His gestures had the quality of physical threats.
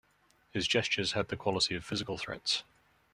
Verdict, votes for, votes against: rejected, 0, 2